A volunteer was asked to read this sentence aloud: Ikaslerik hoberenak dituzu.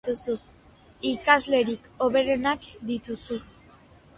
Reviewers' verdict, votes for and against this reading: accepted, 2, 1